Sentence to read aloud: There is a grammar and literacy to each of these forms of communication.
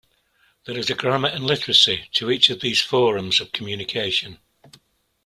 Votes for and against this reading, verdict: 2, 0, accepted